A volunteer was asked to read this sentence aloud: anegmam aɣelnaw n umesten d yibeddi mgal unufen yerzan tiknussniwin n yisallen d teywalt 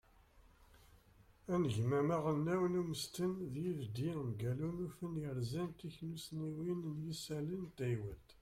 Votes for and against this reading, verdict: 0, 2, rejected